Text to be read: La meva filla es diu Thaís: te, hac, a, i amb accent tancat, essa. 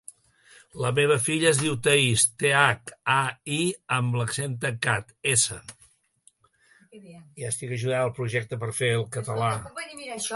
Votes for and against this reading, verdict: 0, 2, rejected